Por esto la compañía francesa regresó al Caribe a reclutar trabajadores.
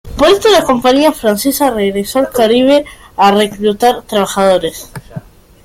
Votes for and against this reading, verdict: 2, 1, accepted